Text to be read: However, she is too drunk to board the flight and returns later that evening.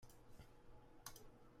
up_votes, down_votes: 0, 2